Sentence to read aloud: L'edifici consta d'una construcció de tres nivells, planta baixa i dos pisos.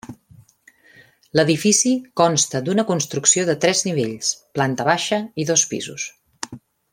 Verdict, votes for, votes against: accepted, 3, 0